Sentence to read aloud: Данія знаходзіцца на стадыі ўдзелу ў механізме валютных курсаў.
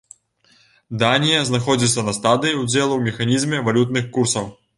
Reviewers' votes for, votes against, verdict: 2, 0, accepted